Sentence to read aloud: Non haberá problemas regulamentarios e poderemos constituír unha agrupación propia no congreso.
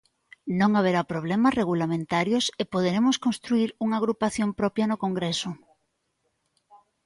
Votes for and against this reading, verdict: 1, 2, rejected